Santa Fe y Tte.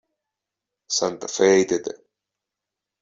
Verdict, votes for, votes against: accepted, 2, 0